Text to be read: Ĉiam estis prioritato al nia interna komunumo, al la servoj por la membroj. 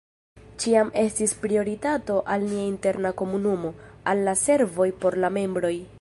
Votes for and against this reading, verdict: 0, 2, rejected